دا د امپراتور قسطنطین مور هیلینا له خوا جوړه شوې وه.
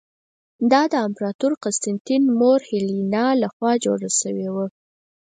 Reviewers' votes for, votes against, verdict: 4, 0, accepted